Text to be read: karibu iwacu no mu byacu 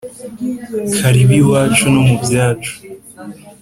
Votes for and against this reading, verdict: 3, 0, accepted